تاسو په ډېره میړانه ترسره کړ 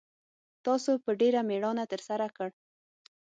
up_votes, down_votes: 6, 0